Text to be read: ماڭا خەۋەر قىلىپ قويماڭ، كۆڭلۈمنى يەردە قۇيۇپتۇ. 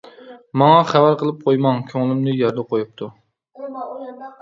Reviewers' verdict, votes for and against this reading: accepted, 2, 0